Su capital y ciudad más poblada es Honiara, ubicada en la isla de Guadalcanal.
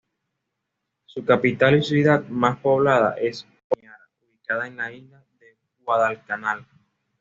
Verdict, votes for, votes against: rejected, 1, 2